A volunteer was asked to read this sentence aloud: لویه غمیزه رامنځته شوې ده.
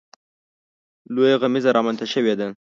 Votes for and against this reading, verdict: 2, 0, accepted